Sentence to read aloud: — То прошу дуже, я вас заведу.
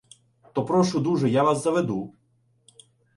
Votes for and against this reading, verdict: 2, 0, accepted